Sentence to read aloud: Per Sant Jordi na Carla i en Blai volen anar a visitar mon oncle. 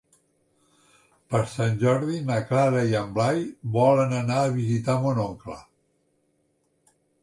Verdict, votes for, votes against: rejected, 0, 2